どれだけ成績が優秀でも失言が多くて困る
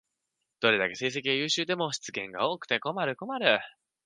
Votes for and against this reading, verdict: 2, 4, rejected